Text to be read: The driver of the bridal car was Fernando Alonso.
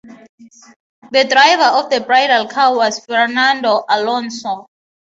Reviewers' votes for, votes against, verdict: 3, 0, accepted